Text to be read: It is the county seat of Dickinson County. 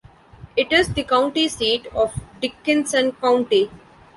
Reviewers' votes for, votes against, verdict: 2, 1, accepted